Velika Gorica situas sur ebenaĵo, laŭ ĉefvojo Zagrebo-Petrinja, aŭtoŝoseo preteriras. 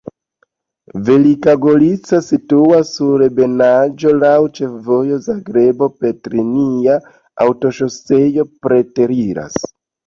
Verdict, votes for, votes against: accepted, 2, 0